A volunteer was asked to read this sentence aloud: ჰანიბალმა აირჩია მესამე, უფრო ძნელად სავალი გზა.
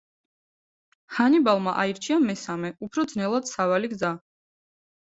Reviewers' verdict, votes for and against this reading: accepted, 2, 0